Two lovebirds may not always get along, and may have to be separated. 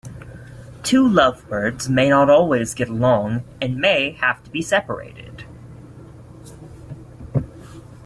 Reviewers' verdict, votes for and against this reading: accepted, 2, 0